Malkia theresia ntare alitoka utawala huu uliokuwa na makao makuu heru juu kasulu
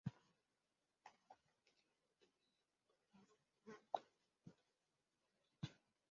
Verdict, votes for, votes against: rejected, 0, 3